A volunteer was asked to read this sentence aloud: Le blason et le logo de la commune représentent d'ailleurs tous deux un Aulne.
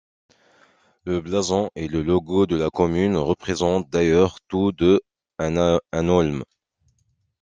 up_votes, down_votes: 1, 2